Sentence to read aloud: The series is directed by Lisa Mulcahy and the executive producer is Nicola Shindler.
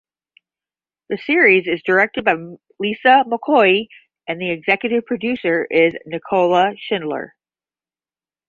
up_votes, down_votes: 0, 10